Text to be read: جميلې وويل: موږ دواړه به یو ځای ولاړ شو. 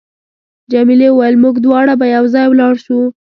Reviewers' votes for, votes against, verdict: 2, 0, accepted